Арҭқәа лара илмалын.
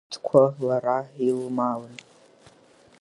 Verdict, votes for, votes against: rejected, 0, 3